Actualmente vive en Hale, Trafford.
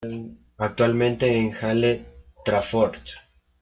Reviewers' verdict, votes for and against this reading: rejected, 1, 2